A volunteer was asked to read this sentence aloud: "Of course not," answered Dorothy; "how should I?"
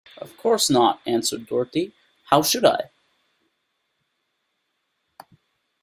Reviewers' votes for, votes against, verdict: 2, 0, accepted